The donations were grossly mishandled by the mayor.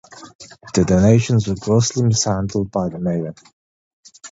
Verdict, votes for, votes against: accepted, 2, 1